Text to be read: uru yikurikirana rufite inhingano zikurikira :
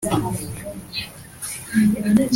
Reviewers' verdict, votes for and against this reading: rejected, 0, 2